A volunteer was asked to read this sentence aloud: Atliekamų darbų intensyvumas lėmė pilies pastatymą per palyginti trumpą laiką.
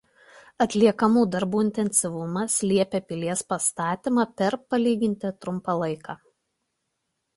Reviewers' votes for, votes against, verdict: 0, 2, rejected